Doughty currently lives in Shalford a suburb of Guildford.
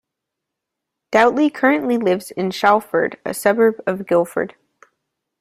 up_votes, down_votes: 0, 2